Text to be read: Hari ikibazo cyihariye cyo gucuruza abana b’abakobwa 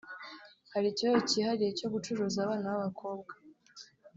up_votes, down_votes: 3, 0